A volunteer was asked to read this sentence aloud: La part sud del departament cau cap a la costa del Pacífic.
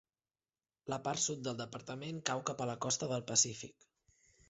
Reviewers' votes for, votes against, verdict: 3, 0, accepted